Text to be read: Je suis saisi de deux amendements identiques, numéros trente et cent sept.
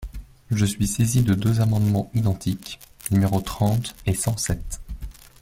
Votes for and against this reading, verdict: 2, 0, accepted